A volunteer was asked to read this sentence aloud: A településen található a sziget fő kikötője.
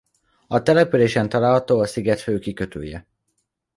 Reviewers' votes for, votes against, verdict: 1, 2, rejected